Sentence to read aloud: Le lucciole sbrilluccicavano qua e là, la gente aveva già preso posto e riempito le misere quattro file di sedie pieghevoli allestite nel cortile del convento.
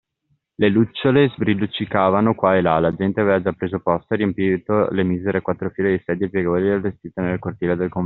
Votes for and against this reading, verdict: 1, 2, rejected